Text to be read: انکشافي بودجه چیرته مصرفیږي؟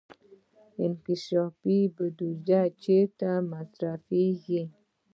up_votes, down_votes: 2, 0